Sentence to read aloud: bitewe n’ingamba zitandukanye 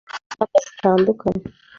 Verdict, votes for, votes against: rejected, 1, 2